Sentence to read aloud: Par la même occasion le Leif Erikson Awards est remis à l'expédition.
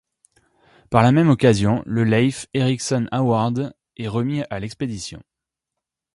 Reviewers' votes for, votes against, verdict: 0, 2, rejected